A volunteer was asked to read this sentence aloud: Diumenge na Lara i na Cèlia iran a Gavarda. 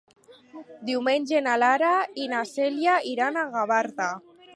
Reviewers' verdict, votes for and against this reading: accepted, 2, 0